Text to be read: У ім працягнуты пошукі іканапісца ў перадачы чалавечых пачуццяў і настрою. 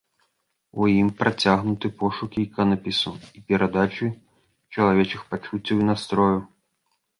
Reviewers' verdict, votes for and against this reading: rejected, 1, 2